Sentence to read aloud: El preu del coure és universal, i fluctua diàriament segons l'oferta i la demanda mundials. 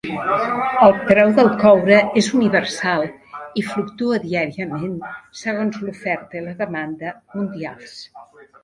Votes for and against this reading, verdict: 0, 2, rejected